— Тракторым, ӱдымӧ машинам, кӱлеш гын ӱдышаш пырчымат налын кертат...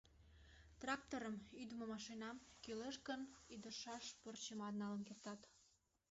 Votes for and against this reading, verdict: 1, 2, rejected